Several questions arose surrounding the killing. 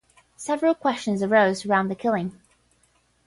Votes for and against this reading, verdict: 0, 10, rejected